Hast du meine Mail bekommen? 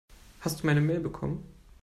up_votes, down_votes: 2, 0